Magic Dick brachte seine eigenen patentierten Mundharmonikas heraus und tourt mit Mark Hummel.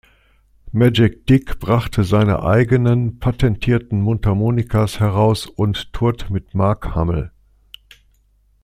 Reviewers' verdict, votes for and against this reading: accepted, 2, 0